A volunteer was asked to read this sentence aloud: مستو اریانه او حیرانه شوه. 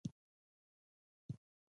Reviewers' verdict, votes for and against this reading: rejected, 0, 2